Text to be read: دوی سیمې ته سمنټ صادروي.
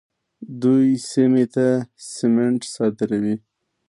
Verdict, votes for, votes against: rejected, 1, 2